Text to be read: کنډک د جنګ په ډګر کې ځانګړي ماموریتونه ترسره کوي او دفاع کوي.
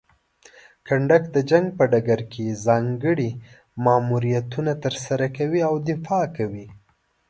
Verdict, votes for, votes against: accepted, 2, 0